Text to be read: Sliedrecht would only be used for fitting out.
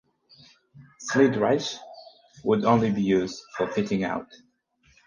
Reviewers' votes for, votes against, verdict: 2, 2, rejected